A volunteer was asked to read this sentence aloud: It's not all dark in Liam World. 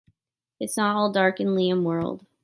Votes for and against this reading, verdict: 2, 0, accepted